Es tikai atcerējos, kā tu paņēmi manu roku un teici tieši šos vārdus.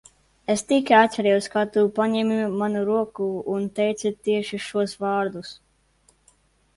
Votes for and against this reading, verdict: 2, 0, accepted